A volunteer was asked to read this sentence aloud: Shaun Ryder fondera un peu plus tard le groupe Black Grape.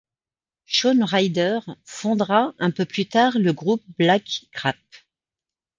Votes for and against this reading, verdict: 1, 2, rejected